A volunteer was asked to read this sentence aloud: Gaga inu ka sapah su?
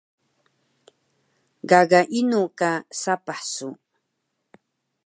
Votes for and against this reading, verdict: 1, 2, rejected